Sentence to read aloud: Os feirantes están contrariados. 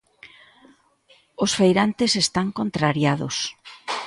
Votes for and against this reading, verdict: 2, 1, accepted